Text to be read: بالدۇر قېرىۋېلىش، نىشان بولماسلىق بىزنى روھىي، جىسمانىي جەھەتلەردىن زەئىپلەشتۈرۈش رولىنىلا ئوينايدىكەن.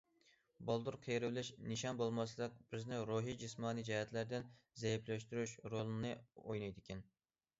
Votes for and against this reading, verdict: 1, 2, rejected